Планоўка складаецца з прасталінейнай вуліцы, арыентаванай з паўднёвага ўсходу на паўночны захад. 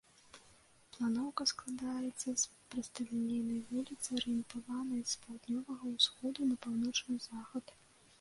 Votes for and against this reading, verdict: 1, 2, rejected